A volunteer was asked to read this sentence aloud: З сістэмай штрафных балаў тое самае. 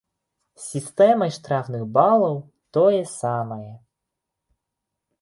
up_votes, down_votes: 1, 2